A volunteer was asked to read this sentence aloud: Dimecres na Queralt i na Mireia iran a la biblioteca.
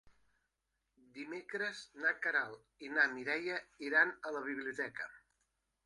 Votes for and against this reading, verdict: 2, 0, accepted